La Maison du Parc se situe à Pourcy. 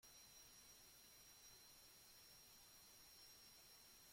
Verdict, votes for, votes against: rejected, 0, 2